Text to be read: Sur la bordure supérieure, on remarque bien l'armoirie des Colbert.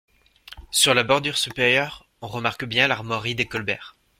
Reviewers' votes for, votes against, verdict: 1, 2, rejected